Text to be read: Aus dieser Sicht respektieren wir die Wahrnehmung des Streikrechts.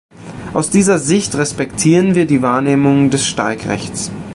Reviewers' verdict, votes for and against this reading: rejected, 1, 2